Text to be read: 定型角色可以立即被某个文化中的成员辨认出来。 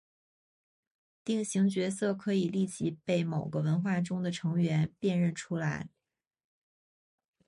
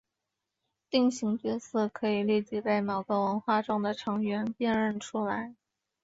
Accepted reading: second